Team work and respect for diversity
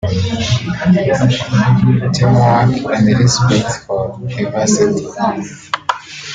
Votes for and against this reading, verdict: 1, 2, rejected